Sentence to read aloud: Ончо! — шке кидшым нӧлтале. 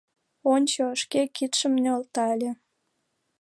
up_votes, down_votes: 2, 0